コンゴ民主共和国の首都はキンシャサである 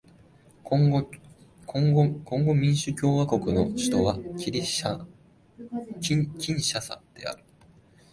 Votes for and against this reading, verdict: 0, 2, rejected